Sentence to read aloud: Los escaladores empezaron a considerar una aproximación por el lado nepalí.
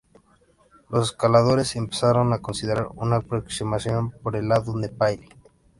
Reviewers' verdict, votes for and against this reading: rejected, 0, 2